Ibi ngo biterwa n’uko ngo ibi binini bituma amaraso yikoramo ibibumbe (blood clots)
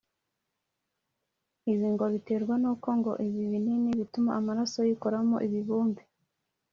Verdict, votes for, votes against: rejected, 1, 2